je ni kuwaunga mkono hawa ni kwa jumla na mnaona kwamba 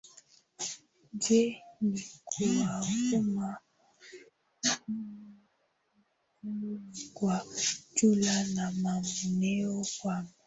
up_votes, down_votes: 1, 9